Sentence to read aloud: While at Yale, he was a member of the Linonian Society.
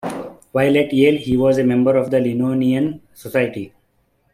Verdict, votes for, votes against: rejected, 1, 2